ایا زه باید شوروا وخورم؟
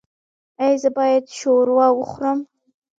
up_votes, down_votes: 0, 2